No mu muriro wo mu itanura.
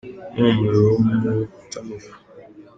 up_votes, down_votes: 0, 2